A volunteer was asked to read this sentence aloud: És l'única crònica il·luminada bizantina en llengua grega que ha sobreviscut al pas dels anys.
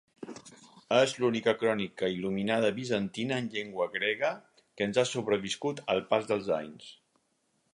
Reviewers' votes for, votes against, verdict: 2, 4, rejected